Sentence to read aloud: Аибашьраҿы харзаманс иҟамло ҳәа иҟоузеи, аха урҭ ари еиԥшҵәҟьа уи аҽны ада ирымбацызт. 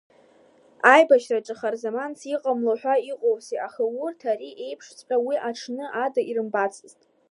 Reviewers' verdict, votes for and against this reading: accepted, 2, 0